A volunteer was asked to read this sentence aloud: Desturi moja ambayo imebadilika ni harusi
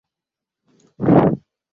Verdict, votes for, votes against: rejected, 0, 2